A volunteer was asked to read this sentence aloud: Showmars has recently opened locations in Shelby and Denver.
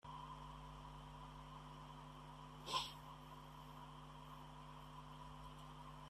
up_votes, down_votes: 0, 2